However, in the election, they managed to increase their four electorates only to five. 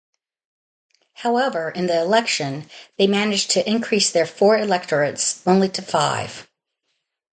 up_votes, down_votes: 2, 0